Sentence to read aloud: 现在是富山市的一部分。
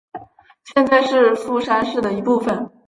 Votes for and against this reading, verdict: 3, 0, accepted